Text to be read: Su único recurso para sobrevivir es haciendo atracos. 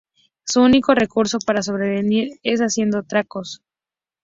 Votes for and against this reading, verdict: 0, 2, rejected